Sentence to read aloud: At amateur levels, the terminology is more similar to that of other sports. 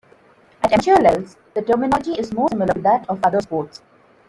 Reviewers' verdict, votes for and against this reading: rejected, 0, 2